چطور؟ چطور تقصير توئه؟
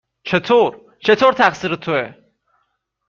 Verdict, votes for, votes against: accepted, 2, 0